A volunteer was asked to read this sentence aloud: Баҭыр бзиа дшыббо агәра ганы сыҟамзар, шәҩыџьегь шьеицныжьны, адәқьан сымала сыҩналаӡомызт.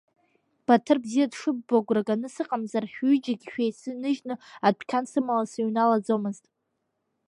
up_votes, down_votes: 2, 0